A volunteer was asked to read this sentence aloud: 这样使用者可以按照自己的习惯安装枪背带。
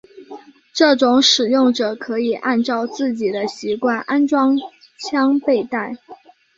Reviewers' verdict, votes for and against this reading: accepted, 2, 0